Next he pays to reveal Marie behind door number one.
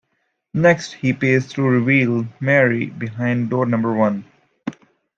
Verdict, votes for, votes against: accepted, 2, 1